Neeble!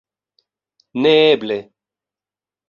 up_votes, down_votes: 2, 0